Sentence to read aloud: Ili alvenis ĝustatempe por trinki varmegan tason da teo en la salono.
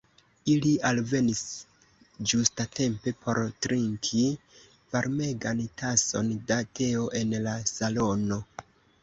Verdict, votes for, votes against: rejected, 0, 2